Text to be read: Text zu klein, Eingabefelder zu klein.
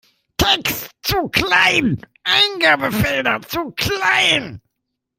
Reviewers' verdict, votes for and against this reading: rejected, 1, 2